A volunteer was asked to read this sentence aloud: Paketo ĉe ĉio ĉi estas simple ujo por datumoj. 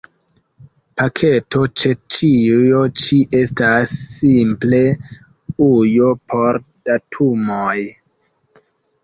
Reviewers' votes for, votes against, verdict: 3, 1, accepted